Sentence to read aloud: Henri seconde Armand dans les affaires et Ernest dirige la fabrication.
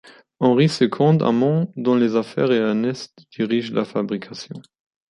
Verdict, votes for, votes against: rejected, 1, 2